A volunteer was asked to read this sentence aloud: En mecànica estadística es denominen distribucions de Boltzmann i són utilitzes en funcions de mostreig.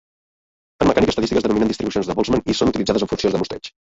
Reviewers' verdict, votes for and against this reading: rejected, 0, 2